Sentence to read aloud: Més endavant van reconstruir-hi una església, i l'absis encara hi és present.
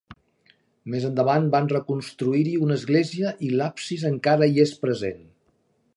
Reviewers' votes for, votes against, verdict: 2, 0, accepted